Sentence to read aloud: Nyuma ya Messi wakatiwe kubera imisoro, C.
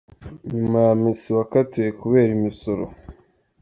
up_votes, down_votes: 1, 2